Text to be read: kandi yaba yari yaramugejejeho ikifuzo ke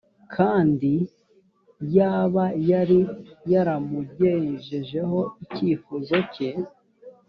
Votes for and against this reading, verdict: 2, 0, accepted